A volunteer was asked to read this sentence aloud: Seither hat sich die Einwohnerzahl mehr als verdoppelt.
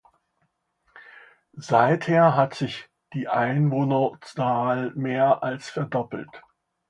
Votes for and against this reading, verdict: 2, 1, accepted